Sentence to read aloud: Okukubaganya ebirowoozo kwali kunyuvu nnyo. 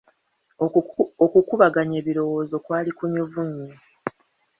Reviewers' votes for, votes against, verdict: 2, 0, accepted